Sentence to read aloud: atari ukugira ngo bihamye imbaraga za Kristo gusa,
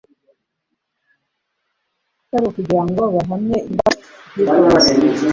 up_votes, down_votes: 0, 2